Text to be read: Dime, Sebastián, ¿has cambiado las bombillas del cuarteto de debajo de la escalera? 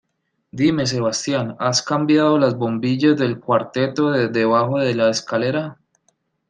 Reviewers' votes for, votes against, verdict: 2, 0, accepted